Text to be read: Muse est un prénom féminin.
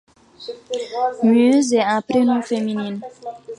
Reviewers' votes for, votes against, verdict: 2, 0, accepted